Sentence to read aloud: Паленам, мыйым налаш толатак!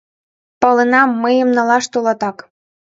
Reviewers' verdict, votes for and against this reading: accepted, 2, 0